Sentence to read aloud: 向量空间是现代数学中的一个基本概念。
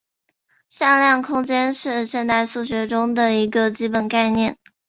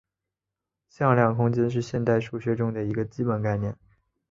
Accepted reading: first